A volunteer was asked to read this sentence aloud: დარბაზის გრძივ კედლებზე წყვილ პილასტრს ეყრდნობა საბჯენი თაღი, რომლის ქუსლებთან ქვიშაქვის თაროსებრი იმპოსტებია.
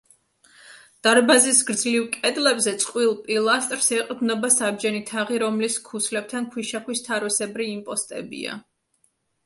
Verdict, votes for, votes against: rejected, 1, 2